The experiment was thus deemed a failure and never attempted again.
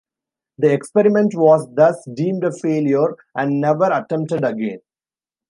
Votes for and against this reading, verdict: 2, 0, accepted